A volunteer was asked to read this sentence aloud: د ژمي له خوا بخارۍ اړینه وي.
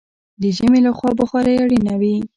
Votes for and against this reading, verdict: 1, 2, rejected